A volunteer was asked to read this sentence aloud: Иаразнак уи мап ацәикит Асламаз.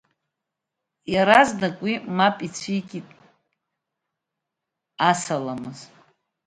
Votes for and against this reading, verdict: 1, 2, rejected